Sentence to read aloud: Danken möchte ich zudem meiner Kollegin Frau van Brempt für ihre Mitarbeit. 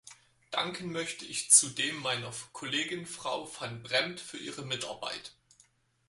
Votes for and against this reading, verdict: 2, 4, rejected